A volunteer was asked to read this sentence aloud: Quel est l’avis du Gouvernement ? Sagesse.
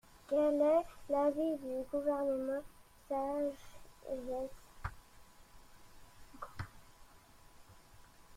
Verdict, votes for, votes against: rejected, 1, 2